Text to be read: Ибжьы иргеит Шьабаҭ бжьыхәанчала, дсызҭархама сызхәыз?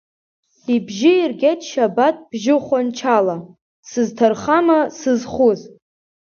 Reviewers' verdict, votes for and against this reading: accepted, 3, 0